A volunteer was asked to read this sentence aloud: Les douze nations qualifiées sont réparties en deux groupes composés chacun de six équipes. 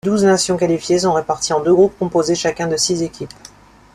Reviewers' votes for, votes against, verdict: 1, 2, rejected